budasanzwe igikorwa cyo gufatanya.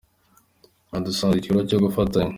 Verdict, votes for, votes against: accepted, 2, 0